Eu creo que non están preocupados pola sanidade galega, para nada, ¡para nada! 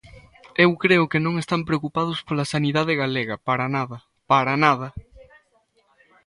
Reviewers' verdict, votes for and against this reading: rejected, 1, 2